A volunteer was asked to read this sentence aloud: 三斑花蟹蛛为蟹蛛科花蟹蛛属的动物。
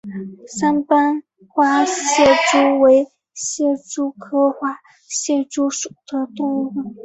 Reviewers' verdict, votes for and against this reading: rejected, 1, 2